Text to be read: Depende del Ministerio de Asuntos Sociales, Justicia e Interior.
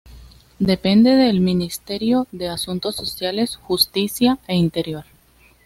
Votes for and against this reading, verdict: 2, 0, accepted